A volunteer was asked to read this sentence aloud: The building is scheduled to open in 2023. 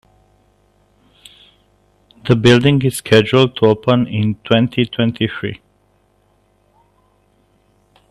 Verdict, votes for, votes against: rejected, 0, 2